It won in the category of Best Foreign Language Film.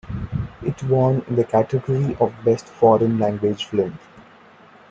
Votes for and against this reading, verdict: 2, 1, accepted